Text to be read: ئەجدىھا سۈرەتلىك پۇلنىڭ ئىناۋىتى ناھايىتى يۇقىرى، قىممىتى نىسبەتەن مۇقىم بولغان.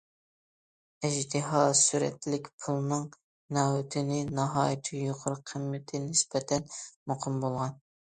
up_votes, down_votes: 0, 2